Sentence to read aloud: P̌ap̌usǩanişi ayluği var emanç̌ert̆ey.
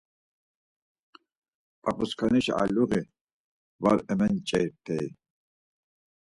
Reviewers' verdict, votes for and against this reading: rejected, 2, 4